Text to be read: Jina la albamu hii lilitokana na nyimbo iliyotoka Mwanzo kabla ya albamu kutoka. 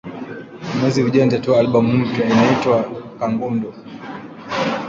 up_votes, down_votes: 0, 2